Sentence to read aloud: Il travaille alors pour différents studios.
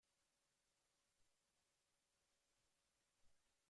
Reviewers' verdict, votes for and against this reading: rejected, 0, 2